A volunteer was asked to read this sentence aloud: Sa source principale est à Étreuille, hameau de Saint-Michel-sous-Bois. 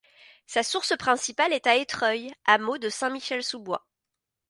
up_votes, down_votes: 2, 0